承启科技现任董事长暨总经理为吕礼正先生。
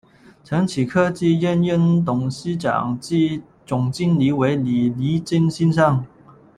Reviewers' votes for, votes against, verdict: 1, 2, rejected